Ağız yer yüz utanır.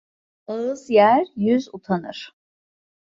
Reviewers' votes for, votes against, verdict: 2, 0, accepted